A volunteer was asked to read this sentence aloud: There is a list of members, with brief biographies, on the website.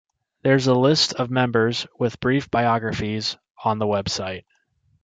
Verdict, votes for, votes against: rejected, 1, 2